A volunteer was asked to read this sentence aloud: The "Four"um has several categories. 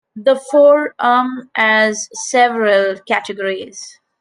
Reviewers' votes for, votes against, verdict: 2, 0, accepted